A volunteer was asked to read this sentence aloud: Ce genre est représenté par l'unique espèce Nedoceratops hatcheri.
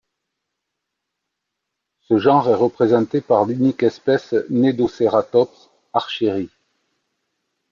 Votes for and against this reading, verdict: 1, 2, rejected